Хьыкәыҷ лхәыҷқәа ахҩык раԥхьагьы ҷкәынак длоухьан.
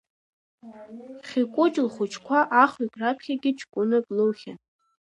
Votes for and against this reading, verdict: 1, 2, rejected